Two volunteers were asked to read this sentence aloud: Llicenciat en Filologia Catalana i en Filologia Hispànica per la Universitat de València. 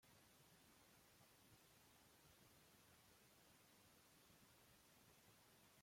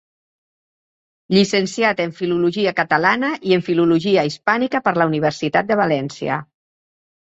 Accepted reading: second